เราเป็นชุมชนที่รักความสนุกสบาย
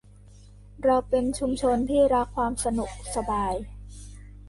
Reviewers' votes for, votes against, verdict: 2, 1, accepted